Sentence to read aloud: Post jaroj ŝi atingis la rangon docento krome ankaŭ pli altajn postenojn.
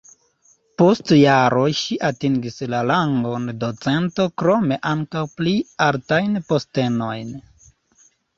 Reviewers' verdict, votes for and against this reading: rejected, 0, 2